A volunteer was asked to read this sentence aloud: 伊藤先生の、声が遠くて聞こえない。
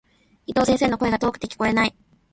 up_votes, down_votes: 2, 0